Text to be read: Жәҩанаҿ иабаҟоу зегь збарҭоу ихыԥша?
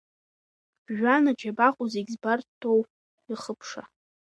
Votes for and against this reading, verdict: 0, 2, rejected